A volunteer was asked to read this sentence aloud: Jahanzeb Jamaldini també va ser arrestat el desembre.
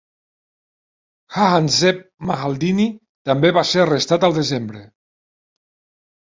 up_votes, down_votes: 0, 2